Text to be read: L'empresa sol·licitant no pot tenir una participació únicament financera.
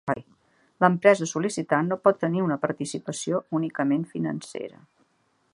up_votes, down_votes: 2, 1